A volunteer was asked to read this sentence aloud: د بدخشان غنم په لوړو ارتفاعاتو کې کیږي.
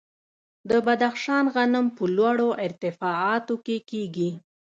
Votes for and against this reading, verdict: 2, 0, accepted